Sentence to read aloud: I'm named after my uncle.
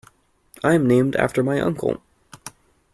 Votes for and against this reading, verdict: 2, 0, accepted